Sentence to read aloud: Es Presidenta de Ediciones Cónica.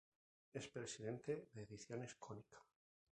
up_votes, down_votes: 2, 0